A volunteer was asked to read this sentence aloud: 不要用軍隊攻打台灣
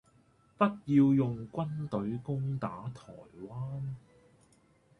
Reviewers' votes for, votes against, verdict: 0, 2, rejected